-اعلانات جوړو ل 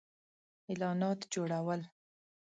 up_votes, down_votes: 7, 0